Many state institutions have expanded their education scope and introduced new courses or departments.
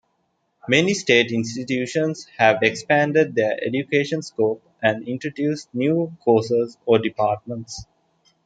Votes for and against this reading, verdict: 2, 0, accepted